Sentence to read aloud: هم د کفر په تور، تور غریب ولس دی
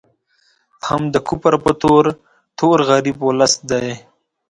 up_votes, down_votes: 2, 0